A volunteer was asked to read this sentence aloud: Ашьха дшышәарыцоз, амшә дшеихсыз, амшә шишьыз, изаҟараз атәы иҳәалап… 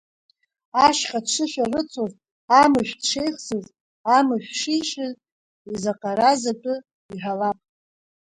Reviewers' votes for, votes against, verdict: 1, 2, rejected